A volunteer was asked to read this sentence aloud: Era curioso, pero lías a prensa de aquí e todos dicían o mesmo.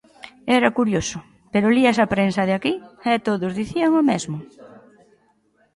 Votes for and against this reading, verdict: 2, 0, accepted